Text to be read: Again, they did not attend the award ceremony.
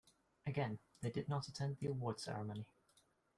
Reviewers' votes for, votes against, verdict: 2, 0, accepted